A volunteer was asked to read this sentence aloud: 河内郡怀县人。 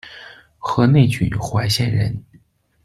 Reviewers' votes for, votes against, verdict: 1, 2, rejected